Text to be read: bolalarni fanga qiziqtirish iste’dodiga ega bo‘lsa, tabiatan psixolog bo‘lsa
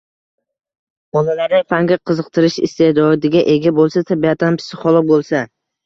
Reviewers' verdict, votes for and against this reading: rejected, 1, 2